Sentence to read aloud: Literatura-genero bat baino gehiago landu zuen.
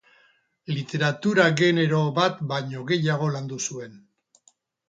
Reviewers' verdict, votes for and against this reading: rejected, 2, 2